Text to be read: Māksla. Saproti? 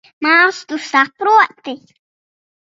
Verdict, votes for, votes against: rejected, 0, 2